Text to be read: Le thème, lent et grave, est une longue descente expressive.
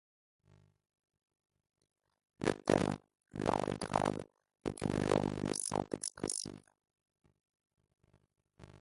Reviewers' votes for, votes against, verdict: 0, 2, rejected